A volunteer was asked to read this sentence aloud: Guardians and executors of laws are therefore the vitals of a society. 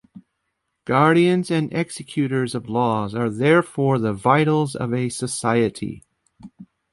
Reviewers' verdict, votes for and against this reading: accepted, 2, 0